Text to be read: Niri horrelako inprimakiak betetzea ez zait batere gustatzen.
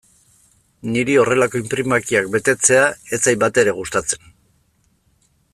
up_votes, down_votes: 2, 0